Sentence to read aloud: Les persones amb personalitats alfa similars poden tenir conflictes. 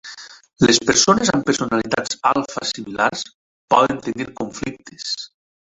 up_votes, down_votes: 0, 2